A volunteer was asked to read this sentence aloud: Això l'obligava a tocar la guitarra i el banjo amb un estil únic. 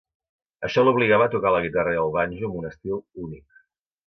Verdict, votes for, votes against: accepted, 3, 0